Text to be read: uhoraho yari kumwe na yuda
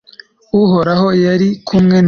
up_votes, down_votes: 1, 2